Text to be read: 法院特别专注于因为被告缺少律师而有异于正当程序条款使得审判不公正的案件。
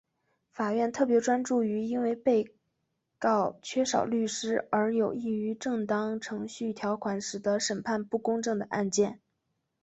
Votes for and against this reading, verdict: 4, 0, accepted